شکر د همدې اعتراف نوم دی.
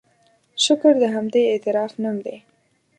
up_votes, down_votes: 2, 0